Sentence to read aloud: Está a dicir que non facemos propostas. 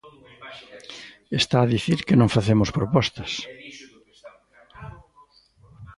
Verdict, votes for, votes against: rejected, 1, 2